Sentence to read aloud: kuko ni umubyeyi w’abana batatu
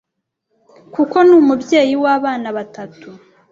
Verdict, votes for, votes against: accepted, 2, 0